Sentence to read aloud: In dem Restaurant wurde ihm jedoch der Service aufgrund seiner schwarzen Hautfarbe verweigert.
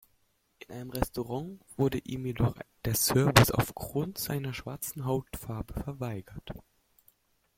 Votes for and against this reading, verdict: 0, 2, rejected